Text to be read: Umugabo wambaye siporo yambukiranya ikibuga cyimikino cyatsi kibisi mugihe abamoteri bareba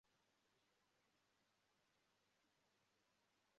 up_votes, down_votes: 0, 2